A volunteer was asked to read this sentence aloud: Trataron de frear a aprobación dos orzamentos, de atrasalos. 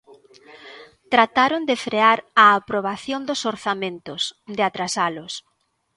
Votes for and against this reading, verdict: 2, 1, accepted